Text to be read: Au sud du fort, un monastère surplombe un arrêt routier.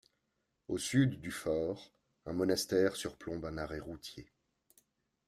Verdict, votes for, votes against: rejected, 1, 2